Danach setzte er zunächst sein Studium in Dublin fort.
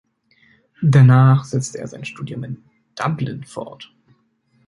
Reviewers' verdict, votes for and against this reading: rejected, 0, 2